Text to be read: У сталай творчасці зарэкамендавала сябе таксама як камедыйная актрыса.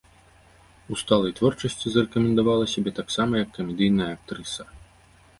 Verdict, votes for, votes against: accepted, 2, 0